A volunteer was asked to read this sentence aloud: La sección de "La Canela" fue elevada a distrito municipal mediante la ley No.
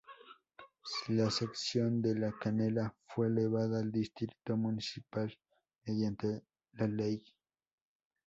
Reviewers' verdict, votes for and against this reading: rejected, 0, 2